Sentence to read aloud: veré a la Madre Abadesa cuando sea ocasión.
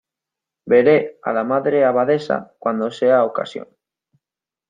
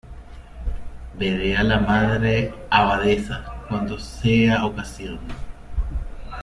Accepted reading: first